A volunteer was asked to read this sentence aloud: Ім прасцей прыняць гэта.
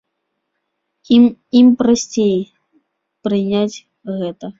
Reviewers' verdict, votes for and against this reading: rejected, 1, 2